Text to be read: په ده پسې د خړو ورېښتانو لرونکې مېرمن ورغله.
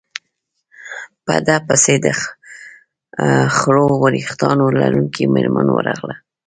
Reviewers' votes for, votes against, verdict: 0, 2, rejected